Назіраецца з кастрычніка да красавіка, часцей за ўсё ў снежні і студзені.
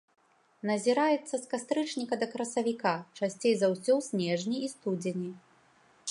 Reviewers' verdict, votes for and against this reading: accepted, 2, 0